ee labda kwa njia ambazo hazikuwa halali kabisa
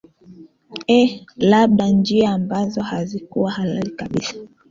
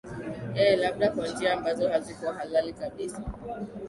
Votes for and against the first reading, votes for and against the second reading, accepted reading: 1, 2, 2, 0, second